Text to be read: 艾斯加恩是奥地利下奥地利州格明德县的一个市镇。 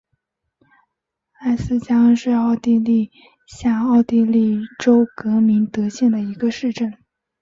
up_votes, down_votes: 2, 1